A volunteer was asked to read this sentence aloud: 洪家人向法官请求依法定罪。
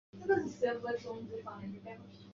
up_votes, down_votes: 0, 2